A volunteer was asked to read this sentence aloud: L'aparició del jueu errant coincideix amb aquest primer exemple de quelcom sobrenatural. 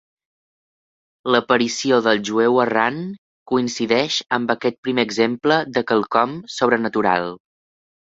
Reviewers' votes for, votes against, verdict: 2, 0, accepted